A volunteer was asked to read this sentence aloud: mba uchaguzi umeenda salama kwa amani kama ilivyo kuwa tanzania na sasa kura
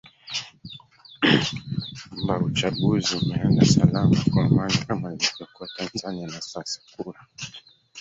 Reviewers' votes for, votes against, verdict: 0, 2, rejected